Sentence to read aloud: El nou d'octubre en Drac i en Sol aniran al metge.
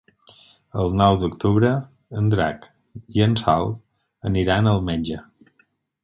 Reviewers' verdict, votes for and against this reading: accepted, 4, 0